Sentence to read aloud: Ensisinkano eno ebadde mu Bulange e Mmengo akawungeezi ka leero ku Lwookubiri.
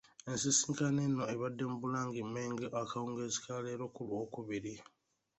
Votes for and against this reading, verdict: 2, 0, accepted